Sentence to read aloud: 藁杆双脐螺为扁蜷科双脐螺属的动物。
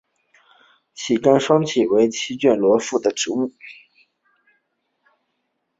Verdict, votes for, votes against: rejected, 0, 3